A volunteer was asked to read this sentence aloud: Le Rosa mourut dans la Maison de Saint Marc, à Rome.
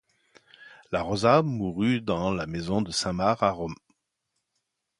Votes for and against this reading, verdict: 1, 2, rejected